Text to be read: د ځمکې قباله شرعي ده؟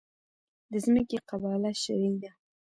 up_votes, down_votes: 0, 2